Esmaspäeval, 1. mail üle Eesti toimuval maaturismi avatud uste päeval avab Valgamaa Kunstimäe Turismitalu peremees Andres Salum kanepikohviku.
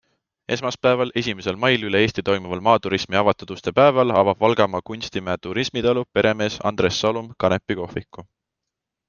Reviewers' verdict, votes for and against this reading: rejected, 0, 2